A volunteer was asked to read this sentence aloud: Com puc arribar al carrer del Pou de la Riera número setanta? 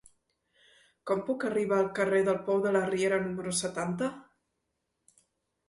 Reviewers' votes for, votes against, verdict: 2, 0, accepted